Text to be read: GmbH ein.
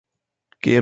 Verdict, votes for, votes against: rejected, 0, 2